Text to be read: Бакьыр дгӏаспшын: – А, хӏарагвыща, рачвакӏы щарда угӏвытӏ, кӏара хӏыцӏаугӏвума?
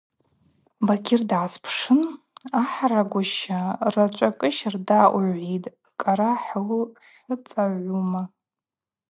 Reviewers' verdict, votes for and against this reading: rejected, 2, 2